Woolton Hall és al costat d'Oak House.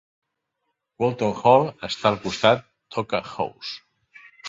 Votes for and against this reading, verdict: 1, 2, rejected